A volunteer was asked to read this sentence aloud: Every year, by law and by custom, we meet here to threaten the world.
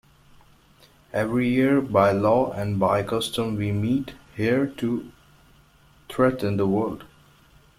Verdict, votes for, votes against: accepted, 2, 1